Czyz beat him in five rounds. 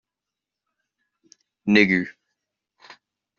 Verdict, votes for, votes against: rejected, 0, 2